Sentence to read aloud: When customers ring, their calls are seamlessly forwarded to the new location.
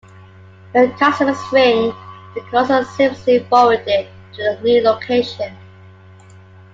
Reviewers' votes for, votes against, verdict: 2, 1, accepted